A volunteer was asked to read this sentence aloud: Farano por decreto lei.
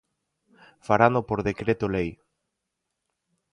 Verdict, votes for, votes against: accepted, 4, 0